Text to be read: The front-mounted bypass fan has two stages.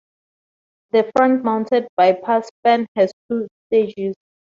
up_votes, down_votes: 2, 2